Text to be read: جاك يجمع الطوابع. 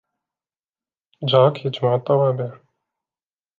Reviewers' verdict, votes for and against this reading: accepted, 2, 0